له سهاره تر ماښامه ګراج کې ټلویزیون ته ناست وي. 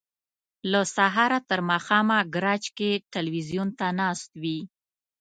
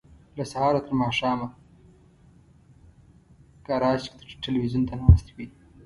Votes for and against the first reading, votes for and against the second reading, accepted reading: 2, 0, 1, 2, first